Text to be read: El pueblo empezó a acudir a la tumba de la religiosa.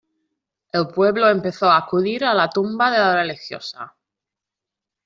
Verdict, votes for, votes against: rejected, 1, 2